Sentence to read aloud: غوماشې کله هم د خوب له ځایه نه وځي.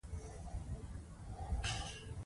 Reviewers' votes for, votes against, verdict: 2, 1, accepted